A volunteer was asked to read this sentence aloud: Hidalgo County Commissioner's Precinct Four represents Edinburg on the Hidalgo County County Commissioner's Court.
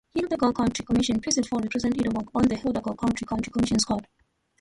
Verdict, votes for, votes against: rejected, 0, 2